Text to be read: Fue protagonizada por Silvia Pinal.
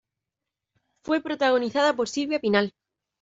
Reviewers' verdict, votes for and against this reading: accepted, 2, 0